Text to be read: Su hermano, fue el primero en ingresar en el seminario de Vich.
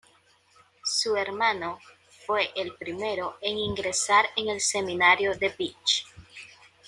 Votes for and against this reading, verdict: 2, 0, accepted